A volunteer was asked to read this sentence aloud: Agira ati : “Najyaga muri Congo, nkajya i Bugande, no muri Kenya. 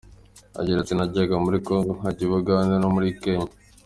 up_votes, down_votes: 2, 1